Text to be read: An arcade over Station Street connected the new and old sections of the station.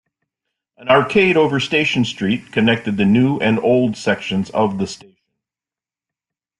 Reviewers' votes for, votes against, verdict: 0, 2, rejected